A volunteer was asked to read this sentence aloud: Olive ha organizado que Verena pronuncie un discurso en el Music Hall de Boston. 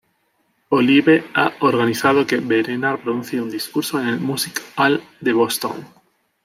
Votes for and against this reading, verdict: 2, 1, accepted